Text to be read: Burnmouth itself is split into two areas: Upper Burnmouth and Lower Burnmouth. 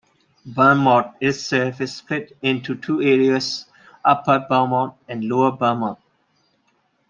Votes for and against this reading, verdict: 2, 1, accepted